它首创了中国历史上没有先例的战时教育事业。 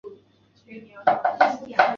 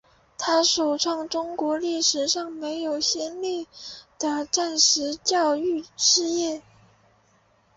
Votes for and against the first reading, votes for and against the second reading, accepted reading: 5, 6, 4, 0, second